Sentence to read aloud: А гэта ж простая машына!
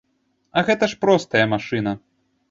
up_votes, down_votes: 2, 0